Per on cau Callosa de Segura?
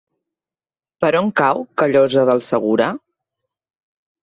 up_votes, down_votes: 0, 3